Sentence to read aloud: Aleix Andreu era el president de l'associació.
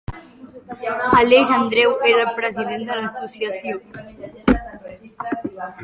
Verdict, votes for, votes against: rejected, 1, 2